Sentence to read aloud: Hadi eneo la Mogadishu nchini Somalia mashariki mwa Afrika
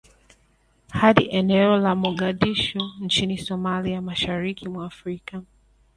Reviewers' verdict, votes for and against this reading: accepted, 4, 0